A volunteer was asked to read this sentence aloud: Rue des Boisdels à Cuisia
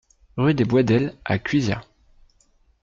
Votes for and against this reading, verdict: 2, 0, accepted